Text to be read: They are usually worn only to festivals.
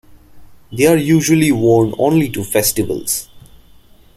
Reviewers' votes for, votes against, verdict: 2, 0, accepted